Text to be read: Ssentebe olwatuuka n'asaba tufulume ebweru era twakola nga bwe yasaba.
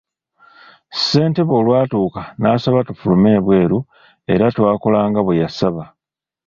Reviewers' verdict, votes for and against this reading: accepted, 2, 0